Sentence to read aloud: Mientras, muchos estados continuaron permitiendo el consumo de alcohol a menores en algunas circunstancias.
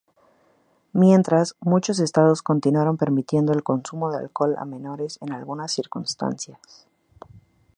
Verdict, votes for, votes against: accepted, 2, 0